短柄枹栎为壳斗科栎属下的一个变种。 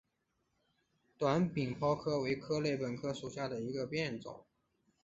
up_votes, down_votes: 3, 2